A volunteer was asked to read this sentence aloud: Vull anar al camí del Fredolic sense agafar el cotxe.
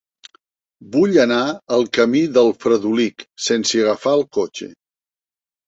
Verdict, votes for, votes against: accepted, 3, 0